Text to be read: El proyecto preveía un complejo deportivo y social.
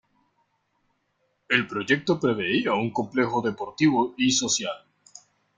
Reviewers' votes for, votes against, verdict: 2, 0, accepted